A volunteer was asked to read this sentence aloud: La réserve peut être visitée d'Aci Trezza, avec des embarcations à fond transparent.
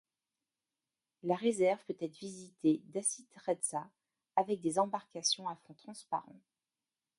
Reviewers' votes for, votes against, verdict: 2, 0, accepted